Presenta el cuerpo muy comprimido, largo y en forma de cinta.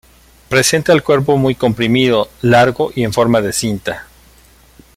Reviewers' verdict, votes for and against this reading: accepted, 2, 0